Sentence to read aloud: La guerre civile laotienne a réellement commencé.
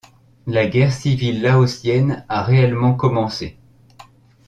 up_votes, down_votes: 2, 0